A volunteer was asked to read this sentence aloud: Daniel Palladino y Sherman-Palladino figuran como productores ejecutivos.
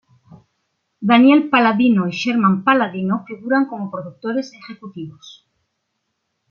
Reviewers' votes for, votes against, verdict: 2, 0, accepted